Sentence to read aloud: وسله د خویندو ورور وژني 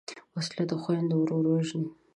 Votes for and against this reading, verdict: 2, 0, accepted